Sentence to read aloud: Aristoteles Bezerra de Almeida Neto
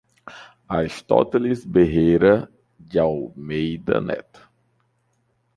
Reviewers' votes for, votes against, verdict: 0, 2, rejected